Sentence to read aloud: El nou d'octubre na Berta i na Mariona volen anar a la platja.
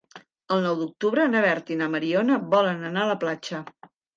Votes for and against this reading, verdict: 3, 0, accepted